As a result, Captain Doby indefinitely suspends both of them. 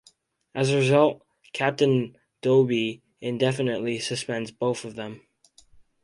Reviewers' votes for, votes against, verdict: 4, 0, accepted